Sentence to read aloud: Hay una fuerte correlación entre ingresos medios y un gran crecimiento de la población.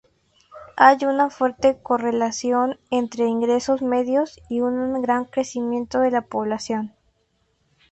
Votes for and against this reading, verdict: 2, 0, accepted